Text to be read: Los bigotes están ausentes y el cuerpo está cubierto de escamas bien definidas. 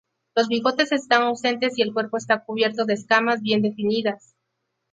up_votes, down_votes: 2, 0